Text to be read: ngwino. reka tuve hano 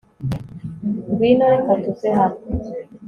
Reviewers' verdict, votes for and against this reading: accepted, 2, 0